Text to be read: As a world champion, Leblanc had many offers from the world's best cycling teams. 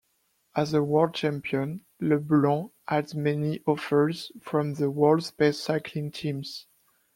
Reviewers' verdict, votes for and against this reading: rejected, 0, 2